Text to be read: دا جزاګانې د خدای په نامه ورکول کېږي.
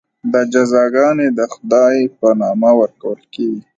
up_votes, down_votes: 0, 2